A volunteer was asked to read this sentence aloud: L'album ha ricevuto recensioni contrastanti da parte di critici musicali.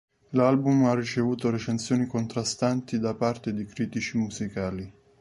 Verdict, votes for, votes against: accepted, 2, 0